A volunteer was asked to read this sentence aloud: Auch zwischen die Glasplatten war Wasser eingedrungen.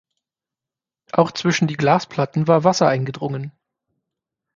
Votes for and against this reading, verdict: 6, 0, accepted